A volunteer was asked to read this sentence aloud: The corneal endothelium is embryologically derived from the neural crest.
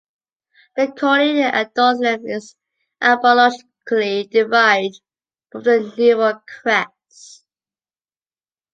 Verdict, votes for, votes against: rejected, 0, 2